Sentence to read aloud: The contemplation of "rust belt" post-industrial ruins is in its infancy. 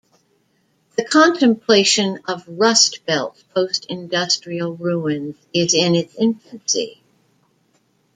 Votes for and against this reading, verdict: 1, 2, rejected